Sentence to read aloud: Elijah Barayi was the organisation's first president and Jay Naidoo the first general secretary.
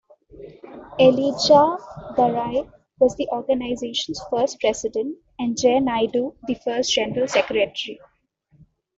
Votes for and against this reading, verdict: 1, 2, rejected